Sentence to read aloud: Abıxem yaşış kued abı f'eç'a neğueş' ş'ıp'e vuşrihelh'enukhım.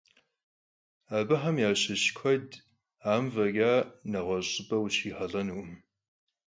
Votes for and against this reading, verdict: 0, 4, rejected